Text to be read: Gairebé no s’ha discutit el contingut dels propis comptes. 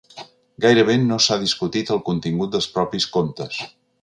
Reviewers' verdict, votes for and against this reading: accepted, 3, 0